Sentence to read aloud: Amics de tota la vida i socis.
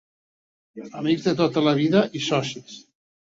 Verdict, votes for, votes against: accepted, 4, 0